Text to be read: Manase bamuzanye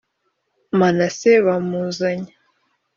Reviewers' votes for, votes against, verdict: 2, 0, accepted